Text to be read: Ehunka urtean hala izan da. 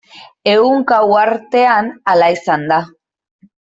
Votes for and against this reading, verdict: 0, 2, rejected